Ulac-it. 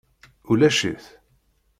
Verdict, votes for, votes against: accepted, 2, 0